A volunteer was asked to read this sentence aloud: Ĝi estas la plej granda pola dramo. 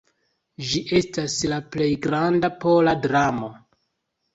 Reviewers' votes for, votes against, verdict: 2, 0, accepted